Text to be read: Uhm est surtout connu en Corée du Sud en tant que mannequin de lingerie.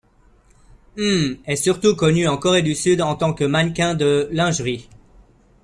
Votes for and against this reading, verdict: 2, 1, accepted